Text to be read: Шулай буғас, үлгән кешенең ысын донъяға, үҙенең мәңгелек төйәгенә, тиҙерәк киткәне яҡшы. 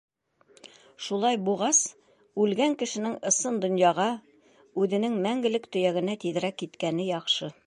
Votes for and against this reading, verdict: 3, 0, accepted